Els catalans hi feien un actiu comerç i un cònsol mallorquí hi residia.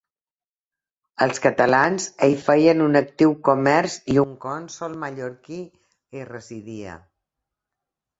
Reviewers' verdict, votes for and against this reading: rejected, 0, 2